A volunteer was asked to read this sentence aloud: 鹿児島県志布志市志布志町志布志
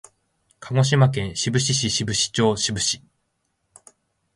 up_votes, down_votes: 2, 0